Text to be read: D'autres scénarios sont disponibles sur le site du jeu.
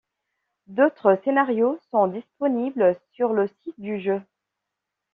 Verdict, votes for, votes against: accepted, 2, 0